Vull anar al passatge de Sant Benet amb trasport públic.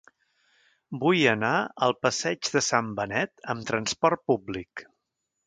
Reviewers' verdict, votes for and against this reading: rejected, 1, 2